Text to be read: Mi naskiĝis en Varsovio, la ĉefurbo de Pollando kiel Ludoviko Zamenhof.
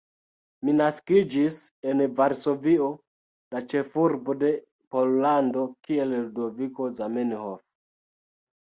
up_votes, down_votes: 1, 2